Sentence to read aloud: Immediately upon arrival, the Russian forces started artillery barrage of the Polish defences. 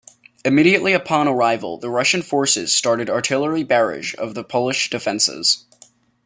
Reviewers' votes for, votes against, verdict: 1, 2, rejected